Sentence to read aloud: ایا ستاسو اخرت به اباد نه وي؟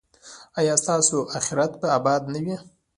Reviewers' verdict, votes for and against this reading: rejected, 0, 2